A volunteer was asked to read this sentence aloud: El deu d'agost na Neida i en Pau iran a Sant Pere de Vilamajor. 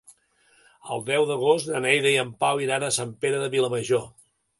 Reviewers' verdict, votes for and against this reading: accepted, 2, 0